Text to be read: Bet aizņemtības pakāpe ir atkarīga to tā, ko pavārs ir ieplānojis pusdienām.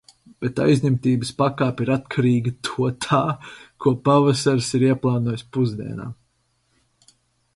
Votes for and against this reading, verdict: 0, 4, rejected